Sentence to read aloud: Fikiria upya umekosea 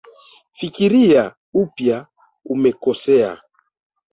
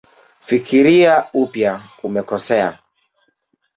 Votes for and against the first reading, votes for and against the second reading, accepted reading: 1, 2, 2, 0, second